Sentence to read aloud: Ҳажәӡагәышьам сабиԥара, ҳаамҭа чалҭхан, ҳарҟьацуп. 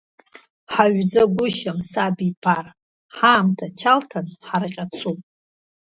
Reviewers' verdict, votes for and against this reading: accepted, 2, 1